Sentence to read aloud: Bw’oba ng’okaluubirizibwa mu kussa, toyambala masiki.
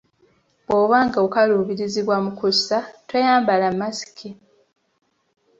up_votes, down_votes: 2, 0